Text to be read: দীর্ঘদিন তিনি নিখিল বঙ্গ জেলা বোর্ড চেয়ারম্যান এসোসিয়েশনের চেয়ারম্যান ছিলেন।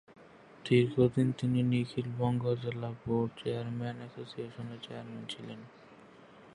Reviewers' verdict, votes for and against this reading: rejected, 9, 12